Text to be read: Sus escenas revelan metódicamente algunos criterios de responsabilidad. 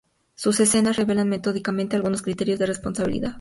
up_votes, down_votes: 2, 0